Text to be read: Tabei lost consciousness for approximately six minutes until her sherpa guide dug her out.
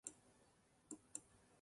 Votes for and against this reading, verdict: 0, 2, rejected